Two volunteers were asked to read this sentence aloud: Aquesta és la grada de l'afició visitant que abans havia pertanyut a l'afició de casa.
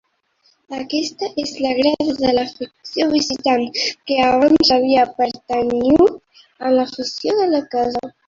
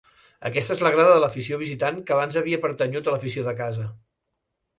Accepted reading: second